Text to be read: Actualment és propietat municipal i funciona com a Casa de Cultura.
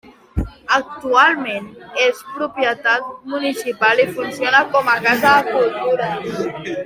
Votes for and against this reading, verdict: 3, 0, accepted